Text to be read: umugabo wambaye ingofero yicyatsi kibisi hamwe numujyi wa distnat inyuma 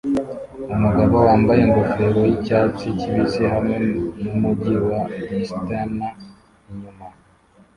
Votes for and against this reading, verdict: 0, 2, rejected